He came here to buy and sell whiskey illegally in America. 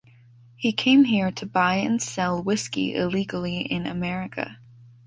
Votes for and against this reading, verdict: 2, 0, accepted